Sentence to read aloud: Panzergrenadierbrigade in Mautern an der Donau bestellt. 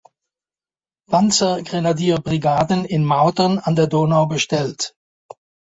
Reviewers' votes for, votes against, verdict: 1, 2, rejected